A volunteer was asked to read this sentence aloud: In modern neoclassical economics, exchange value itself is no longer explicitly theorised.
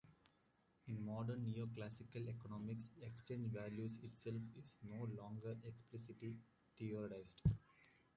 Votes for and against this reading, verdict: 0, 2, rejected